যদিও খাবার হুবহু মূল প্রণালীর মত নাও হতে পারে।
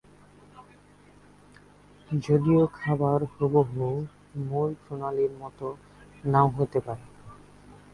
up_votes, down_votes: 5, 9